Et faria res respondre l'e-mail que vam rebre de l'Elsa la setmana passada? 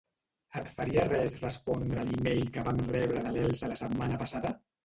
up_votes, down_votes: 0, 2